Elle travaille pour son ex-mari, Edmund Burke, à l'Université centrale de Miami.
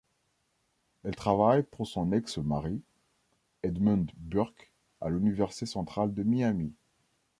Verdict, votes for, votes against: accepted, 2, 0